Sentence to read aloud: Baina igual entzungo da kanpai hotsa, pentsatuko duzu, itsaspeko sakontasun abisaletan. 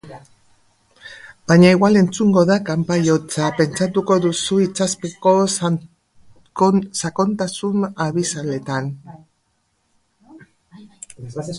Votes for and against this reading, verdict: 0, 2, rejected